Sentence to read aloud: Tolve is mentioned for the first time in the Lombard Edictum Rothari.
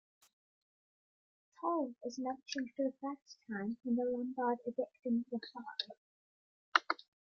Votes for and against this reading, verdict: 1, 2, rejected